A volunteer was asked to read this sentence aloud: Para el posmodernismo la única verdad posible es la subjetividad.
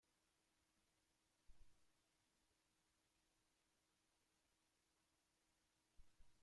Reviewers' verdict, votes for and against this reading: rejected, 0, 2